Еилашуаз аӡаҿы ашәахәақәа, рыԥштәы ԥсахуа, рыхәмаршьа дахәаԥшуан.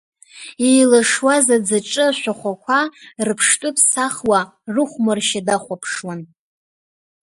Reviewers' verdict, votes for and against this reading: accepted, 2, 0